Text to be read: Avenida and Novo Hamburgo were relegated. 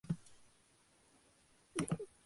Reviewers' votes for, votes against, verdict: 0, 4, rejected